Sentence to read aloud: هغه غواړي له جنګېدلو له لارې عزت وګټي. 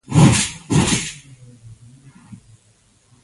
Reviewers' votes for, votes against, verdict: 0, 2, rejected